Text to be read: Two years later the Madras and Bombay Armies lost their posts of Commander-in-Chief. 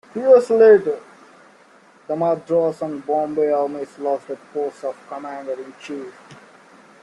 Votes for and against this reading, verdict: 3, 0, accepted